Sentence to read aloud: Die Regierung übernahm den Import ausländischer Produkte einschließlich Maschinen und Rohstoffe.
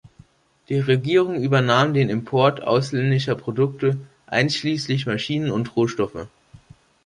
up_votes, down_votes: 3, 0